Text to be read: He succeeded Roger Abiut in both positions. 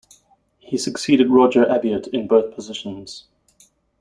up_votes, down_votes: 2, 0